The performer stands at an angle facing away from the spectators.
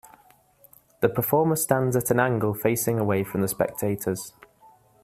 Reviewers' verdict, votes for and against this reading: accepted, 2, 0